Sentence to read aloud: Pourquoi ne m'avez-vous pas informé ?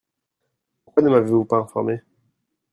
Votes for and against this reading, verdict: 0, 2, rejected